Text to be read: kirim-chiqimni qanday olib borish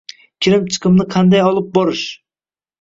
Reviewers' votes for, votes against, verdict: 1, 2, rejected